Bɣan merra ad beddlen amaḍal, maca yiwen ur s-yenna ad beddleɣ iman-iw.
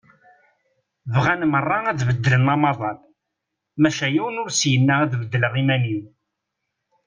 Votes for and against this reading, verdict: 2, 0, accepted